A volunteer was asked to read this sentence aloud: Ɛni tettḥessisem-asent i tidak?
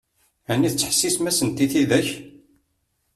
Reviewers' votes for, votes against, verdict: 2, 0, accepted